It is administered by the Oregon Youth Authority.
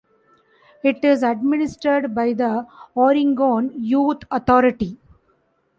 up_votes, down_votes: 0, 2